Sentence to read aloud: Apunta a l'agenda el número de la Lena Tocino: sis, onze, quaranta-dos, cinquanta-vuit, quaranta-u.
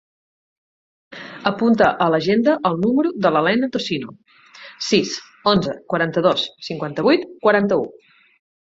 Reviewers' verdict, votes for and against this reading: accepted, 8, 0